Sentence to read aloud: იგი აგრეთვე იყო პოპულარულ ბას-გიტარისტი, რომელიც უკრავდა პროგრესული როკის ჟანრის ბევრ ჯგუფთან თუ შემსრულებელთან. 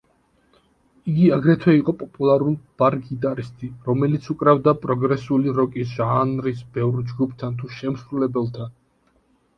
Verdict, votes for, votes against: rejected, 0, 2